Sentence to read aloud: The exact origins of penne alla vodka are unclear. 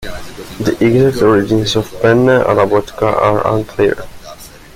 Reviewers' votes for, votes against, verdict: 0, 2, rejected